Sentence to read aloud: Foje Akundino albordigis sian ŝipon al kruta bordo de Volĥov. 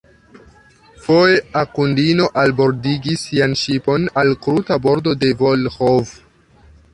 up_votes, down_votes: 2, 1